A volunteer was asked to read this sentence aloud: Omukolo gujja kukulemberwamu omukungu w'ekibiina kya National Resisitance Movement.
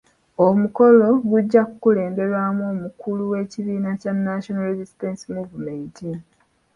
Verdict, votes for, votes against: rejected, 0, 2